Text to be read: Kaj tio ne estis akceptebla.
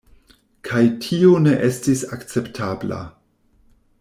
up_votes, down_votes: 0, 2